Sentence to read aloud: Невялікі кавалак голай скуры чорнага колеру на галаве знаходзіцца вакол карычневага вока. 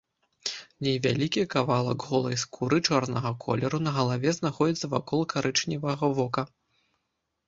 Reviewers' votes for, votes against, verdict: 2, 0, accepted